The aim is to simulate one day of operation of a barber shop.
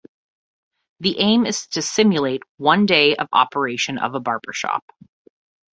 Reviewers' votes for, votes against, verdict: 2, 0, accepted